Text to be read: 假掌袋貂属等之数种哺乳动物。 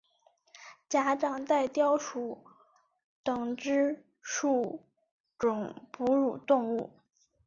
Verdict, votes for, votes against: accepted, 2, 0